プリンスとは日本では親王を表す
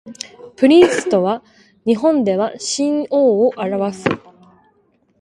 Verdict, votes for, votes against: rejected, 1, 2